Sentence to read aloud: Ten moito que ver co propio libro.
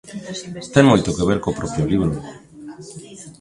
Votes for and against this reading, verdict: 2, 1, accepted